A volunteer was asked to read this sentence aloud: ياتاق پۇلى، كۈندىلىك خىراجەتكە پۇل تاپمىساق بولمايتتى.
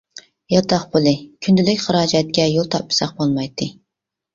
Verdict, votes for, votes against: rejected, 0, 2